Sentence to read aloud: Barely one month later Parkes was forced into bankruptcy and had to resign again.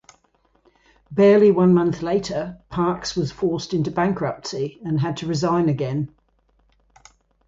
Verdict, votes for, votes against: accepted, 2, 0